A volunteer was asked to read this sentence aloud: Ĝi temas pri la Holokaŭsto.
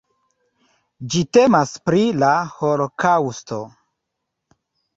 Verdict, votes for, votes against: accepted, 2, 0